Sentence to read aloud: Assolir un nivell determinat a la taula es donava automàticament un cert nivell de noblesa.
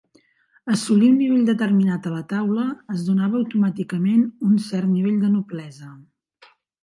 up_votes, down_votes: 4, 0